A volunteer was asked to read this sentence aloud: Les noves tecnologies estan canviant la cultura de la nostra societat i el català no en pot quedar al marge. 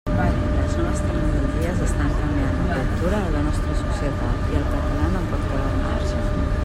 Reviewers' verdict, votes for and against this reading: rejected, 1, 2